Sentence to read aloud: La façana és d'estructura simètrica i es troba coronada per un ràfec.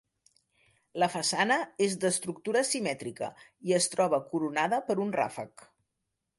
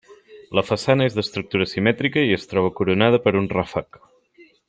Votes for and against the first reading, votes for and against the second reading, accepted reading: 3, 0, 0, 2, first